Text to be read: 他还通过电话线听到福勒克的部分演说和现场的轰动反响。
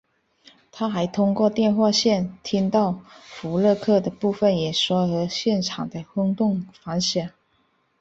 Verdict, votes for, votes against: accepted, 3, 0